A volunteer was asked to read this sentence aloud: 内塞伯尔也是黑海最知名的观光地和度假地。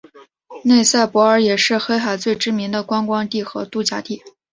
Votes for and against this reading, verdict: 3, 0, accepted